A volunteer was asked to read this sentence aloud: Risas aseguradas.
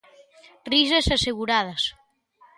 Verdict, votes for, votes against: accepted, 2, 0